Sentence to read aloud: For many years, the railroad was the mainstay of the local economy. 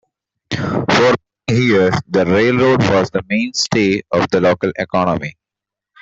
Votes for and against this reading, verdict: 1, 2, rejected